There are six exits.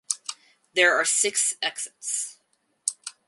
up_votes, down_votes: 4, 0